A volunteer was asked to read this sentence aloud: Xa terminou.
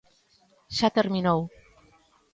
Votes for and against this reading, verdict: 2, 0, accepted